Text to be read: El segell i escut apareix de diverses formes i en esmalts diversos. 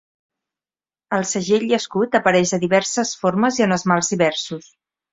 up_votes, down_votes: 2, 0